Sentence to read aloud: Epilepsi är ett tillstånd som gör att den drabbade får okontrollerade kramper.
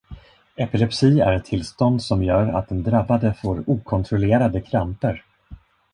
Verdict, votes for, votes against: accepted, 2, 0